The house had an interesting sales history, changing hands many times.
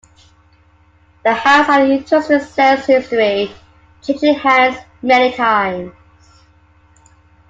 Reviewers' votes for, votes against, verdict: 0, 2, rejected